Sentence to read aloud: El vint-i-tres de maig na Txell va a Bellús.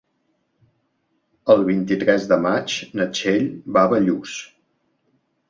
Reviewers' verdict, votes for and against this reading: accepted, 3, 0